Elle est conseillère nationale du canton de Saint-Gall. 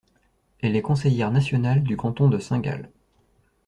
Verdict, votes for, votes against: accepted, 2, 0